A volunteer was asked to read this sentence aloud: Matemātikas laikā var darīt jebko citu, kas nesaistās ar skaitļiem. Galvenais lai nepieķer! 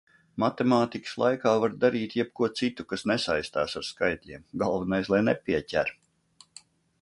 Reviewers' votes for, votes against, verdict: 2, 0, accepted